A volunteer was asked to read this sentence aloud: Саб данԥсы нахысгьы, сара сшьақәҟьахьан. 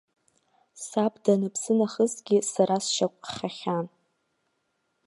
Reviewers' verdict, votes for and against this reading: rejected, 1, 2